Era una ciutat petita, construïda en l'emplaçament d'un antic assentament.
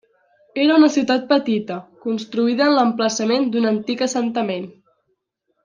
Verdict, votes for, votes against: accepted, 3, 0